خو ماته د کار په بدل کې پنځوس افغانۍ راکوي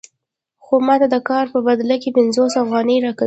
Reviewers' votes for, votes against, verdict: 1, 2, rejected